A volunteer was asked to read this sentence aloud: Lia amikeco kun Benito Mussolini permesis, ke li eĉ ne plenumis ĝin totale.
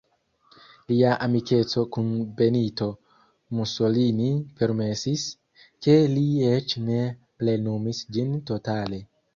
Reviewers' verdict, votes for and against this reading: rejected, 1, 2